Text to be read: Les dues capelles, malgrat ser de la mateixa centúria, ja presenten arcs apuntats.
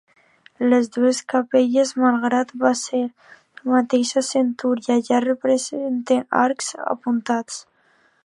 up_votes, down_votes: 0, 2